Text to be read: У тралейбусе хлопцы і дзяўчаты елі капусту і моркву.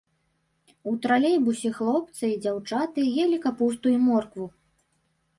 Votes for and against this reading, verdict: 2, 0, accepted